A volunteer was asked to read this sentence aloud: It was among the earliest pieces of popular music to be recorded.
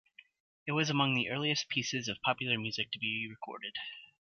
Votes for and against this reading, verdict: 2, 1, accepted